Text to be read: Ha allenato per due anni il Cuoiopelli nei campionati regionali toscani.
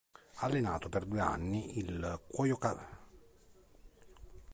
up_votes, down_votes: 0, 2